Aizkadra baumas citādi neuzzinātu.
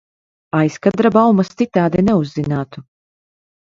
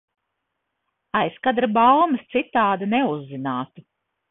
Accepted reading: second